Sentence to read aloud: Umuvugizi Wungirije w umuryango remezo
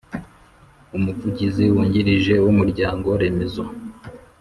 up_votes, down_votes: 3, 0